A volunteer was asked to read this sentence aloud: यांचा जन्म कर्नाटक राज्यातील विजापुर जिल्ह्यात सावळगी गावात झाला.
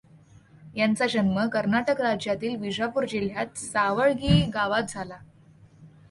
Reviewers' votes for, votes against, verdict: 2, 0, accepted